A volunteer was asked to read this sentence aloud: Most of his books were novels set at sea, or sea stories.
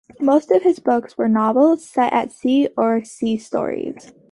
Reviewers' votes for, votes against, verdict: 2, 0, accepted